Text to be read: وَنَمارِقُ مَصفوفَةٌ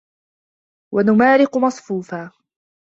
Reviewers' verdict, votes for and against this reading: rejected, 1, 2